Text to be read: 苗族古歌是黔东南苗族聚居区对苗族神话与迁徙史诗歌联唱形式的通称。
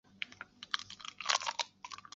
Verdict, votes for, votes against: rejected, 0, 2